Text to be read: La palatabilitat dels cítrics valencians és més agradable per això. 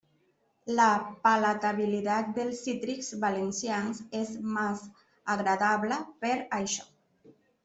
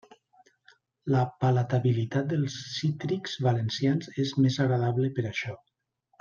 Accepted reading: second